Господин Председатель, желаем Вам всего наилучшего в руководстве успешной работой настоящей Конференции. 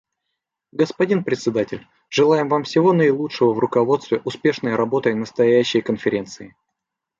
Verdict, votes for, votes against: accepted, 2, 0